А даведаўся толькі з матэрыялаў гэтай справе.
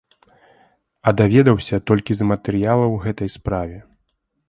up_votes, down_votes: 2, 0